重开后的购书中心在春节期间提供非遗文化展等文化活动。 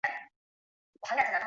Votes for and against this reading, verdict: 0, 2, rejected